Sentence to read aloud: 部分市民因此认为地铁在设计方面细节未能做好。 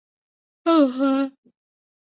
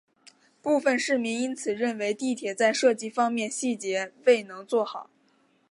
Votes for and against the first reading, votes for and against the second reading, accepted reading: 0, 2, 2, 0, second